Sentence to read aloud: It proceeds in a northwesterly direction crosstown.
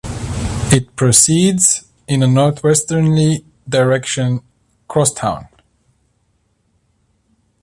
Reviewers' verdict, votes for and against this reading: rejected, 0, 2